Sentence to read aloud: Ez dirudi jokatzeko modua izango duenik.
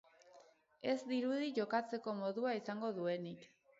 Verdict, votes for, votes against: accepted, 4, 0